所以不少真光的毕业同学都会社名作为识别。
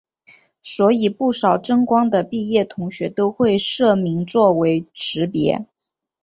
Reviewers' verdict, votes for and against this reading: accepted, 2, 0